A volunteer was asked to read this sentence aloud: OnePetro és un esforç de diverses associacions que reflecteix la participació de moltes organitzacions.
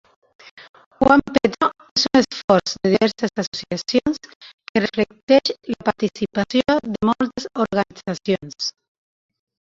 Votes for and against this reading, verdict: 1, 2, rejected